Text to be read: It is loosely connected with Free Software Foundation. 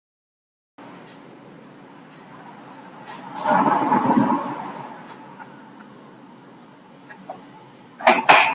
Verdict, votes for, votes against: rejected, 0, 2